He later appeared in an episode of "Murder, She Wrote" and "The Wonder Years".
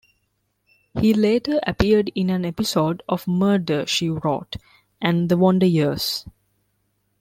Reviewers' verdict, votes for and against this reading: rejected, 1, 2